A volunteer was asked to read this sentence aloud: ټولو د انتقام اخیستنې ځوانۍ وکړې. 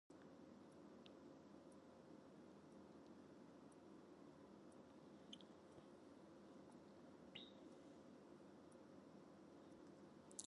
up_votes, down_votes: 0, 2